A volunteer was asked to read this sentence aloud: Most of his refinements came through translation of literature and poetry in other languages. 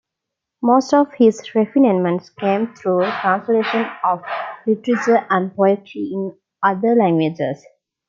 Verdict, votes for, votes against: rejected, 0, 2